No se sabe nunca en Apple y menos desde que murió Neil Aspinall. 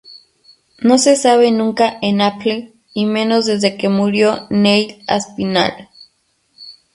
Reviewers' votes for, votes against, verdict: 2, 2, rejected